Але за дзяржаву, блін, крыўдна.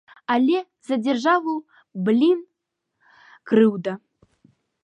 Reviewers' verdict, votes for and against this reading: rejected, 0, 2